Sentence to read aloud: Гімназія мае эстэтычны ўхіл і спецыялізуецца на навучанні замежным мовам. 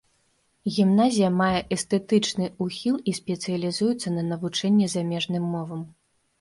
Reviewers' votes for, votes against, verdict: 2, 1, accepted